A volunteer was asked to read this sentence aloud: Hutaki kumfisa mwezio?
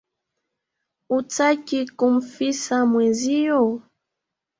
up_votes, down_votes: 2, 1